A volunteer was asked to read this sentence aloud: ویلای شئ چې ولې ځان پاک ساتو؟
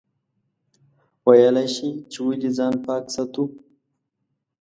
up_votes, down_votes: 2, 0